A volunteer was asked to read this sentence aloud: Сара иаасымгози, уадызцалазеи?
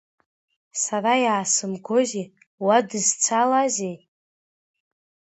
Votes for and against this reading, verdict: 2, 0, accepted